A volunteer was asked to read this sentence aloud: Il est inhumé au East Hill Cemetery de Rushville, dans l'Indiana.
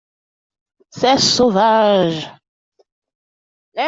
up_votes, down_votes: 0, 2